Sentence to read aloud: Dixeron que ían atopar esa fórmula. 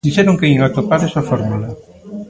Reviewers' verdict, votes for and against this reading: rejected, 0, 2